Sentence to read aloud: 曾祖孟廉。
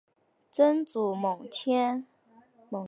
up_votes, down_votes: 0, 2